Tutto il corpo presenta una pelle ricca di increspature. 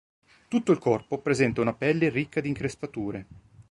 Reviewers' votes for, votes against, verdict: 2, 0, accepted